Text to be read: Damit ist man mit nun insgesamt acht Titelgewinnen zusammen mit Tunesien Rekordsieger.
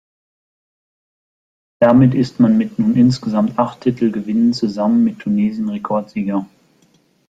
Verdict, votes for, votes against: accepted, 2, 0